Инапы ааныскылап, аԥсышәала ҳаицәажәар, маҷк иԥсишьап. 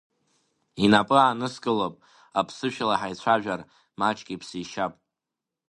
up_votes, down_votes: 2, 0